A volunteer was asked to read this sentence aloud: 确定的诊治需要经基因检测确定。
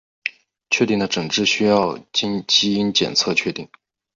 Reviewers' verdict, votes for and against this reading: accepted, 2, 0